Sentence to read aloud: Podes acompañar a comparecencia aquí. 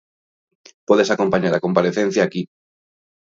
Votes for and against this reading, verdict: 2, 0, accepted